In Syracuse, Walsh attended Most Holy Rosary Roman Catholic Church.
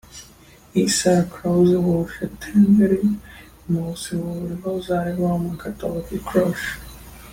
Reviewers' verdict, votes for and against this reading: rejected, 0, 2